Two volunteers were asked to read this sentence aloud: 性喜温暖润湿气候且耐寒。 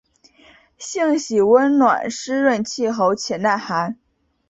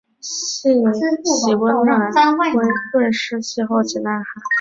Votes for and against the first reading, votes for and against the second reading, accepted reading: 3, 0, 2, 3, first